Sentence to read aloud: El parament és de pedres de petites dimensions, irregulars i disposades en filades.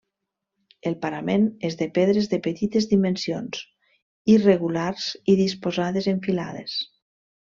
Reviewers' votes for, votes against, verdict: 2, 0, accepted